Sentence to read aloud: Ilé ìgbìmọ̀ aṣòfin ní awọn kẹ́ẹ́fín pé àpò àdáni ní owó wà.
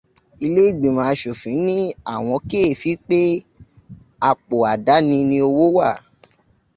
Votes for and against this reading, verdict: 0, 2, rejected